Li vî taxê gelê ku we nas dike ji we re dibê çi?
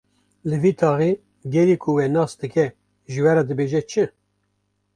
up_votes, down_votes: 1, 2